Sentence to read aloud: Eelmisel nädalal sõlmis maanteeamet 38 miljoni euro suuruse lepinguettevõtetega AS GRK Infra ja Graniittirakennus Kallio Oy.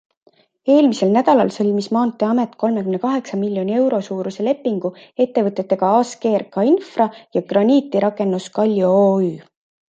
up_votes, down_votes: 0, 2